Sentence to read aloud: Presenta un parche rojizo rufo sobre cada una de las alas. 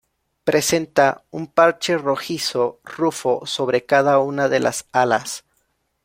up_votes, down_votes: 2, 0